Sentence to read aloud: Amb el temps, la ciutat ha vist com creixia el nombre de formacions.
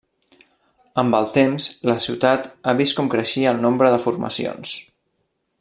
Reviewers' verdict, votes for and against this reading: accepted, 3, 0